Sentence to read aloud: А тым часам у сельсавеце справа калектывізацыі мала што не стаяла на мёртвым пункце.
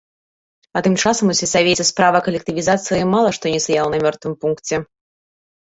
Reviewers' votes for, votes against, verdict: 2, 1, accepted